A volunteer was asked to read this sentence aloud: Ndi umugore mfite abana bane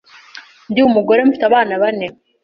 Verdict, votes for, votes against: accepted, 2, 0